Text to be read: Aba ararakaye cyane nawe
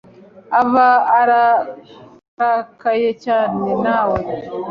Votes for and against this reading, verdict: 1, 2, rejected